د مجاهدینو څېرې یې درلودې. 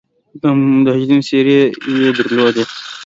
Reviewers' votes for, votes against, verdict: 0, 2, rejected